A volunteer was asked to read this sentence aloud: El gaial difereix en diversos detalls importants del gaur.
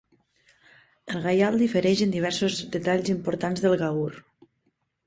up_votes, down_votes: 1, 2